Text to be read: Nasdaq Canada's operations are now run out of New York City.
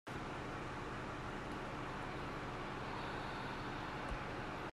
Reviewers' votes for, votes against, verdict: 0, 2, rejected